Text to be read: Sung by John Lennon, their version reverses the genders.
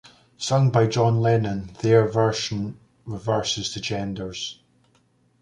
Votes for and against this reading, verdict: 2, 0, accepted